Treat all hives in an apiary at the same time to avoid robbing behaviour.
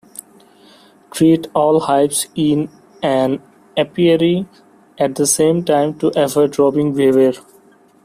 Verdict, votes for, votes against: rejected, 0, 2